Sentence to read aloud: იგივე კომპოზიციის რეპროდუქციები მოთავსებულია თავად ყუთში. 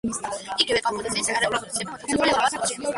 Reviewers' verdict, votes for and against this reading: rejected, 0, 2